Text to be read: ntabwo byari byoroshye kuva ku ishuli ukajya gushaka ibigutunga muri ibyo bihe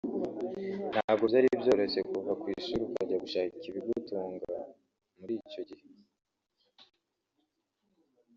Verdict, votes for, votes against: rejected, 1, 2